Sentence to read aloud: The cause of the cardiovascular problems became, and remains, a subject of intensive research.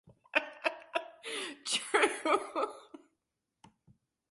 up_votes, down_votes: 0, 2